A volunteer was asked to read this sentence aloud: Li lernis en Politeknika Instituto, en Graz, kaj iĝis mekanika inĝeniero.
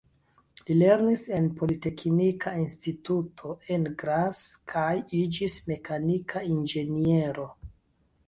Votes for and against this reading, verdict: 2, 1, accepted